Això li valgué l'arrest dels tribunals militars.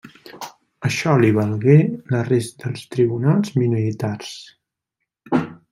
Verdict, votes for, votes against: rejected, 1, 2